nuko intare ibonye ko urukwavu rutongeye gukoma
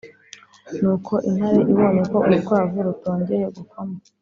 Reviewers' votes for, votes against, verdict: 3, 1, accepted